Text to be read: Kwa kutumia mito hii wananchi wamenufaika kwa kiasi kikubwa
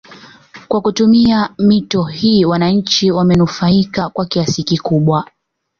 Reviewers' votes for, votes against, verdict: 2, 0, accepted